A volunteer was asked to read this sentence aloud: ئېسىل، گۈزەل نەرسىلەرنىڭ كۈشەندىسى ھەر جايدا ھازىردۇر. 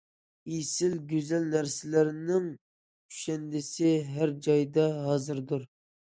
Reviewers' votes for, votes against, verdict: 2, 0, accepted